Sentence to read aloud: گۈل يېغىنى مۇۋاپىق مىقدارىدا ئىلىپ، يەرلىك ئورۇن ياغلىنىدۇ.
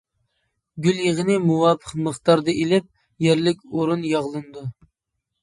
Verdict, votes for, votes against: accepted, 2, 0